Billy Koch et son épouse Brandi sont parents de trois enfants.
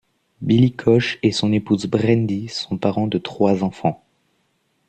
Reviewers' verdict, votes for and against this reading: accepted, 2, 0